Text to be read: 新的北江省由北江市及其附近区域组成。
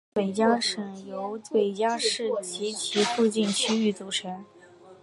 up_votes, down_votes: 0, 2